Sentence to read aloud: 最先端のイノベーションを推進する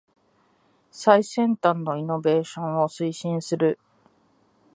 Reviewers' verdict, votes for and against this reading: accepted, 2, 0